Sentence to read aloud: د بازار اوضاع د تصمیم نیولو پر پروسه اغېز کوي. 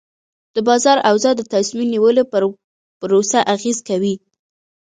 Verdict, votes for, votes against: rejected, 0, 2